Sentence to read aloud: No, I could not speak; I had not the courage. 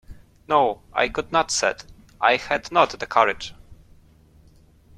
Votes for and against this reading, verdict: 0, 2, rejected